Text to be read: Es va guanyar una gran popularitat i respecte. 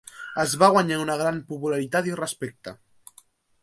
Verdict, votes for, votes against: accepted, 2, 0